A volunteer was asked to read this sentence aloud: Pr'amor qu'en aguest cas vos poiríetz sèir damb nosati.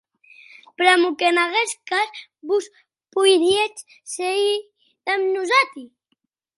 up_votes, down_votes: 2, 0